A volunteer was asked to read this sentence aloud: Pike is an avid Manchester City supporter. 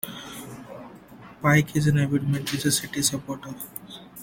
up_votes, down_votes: 2, 1